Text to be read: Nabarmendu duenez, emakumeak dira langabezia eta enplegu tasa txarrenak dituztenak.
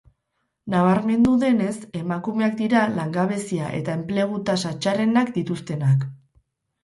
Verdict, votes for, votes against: accepted, 2, 0